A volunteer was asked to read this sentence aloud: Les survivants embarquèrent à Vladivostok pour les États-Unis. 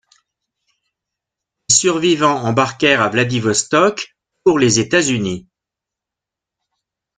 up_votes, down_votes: 0, 2